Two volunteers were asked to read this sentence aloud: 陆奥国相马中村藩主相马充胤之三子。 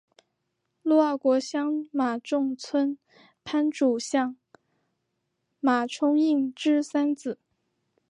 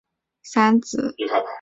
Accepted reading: first